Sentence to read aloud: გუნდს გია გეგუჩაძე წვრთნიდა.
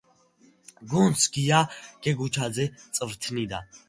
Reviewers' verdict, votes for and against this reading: accepted, 2, 0